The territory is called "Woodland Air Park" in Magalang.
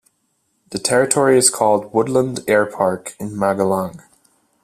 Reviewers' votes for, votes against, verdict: 2, 0, accepted